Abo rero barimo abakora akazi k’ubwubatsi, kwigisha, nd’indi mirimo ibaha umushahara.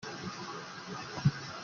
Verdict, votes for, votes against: rejected, 0, 2